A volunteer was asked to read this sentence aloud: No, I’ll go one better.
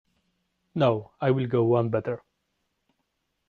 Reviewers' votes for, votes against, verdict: 2, 0, accepted